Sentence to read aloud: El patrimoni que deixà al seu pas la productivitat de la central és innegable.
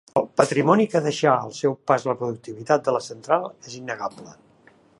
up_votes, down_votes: 2, 0